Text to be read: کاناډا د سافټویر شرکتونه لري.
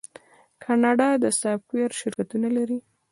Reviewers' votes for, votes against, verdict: 2, 0, accepted